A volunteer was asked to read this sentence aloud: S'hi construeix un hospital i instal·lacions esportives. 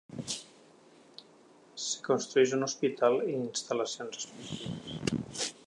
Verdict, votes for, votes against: accepted, 4, 1